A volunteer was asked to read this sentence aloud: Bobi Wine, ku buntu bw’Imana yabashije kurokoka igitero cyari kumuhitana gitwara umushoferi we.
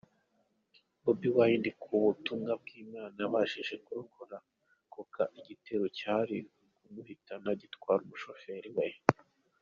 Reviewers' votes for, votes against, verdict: 0, 2, rejected